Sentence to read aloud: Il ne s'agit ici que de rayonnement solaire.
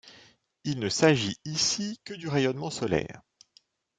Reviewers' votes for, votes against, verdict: 0, 2, rejected